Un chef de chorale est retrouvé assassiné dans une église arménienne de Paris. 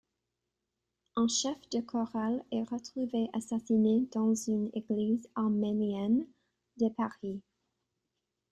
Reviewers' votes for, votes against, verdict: 1, 2, rejected